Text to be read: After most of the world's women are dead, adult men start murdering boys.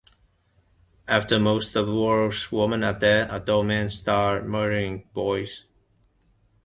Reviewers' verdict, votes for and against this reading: accepted, 2, 1